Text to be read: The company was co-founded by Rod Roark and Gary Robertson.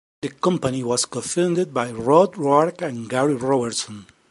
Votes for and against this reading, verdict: 2, 0, accepted